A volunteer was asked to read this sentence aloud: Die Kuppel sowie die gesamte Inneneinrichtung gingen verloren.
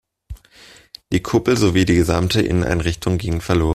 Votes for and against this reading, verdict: 0, 2, rejected